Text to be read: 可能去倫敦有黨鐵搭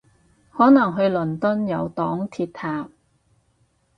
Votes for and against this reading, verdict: 2, 2, rejected